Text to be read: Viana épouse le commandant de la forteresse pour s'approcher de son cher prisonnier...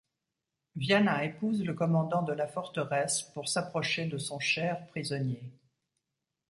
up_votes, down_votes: 2, 0